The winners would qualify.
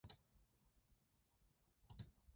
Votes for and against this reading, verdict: 0, 2, rejected